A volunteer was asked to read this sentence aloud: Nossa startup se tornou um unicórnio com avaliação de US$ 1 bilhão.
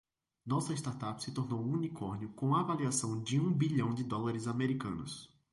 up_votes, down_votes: 0, 2